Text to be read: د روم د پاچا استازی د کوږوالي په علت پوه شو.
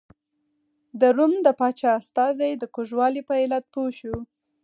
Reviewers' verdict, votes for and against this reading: rejected, 0, 4